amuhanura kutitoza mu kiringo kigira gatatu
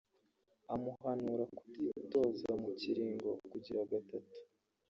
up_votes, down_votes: 1, 2